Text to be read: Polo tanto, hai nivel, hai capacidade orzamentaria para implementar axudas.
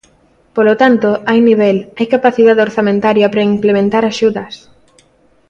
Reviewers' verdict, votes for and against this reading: accepted, 2, 0